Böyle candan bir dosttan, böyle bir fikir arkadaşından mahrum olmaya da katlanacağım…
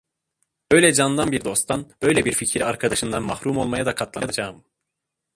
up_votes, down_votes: 1, 2